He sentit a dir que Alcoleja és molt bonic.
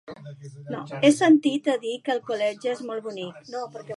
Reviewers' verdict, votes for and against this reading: rejected, 1, 2